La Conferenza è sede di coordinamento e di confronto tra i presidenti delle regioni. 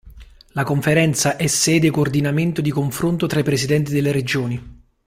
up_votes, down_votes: 0, 2